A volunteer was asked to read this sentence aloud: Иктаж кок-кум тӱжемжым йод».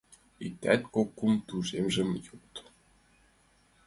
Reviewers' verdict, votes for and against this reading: rejected, 0, 2